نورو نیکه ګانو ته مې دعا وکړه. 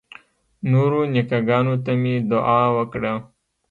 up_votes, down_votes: 1, 2